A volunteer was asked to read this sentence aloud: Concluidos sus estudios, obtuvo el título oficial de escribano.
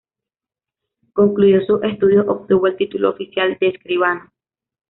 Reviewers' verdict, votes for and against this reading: accepted, 2, 1